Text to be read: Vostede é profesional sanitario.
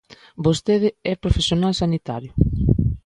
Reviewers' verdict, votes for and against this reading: accepted, 2, 0